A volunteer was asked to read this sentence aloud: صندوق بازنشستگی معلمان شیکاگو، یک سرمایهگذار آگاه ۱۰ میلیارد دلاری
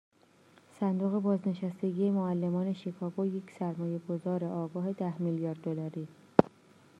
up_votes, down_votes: 0, 2